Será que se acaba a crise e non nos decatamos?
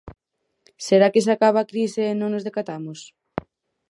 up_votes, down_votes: 4, 0